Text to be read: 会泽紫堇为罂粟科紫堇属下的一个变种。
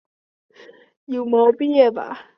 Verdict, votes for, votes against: rejected, 0, 3